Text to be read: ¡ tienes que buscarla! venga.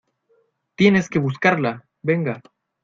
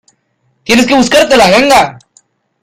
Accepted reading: first